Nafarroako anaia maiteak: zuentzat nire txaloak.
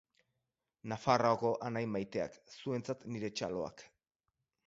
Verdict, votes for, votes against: rejected, 2, 2